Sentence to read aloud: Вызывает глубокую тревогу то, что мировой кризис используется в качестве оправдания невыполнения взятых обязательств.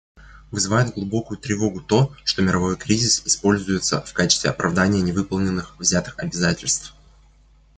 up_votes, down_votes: 1, 2